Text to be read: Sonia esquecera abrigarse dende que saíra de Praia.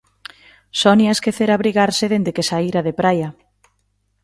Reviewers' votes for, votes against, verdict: 2, 0, accepted